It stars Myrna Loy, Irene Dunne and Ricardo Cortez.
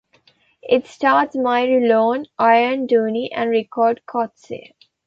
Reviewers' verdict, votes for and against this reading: rejected, 1, 2